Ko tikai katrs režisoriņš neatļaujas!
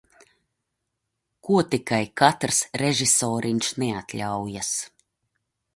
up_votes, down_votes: 2, 0